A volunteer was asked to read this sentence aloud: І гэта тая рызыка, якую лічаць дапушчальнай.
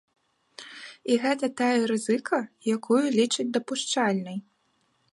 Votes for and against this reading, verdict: 1, 2, rejected